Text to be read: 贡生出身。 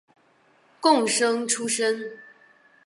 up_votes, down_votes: 3, 0